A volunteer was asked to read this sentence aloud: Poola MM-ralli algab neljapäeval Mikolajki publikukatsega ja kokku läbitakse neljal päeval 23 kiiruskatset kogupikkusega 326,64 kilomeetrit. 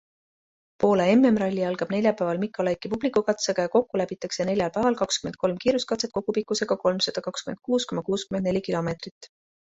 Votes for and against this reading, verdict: 0, 2, rejected